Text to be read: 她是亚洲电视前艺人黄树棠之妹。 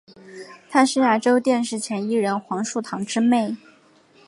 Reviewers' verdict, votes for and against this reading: accepted, 3, 0